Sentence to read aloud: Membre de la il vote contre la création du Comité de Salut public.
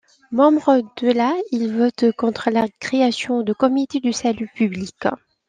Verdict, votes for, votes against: rejected, 0, 2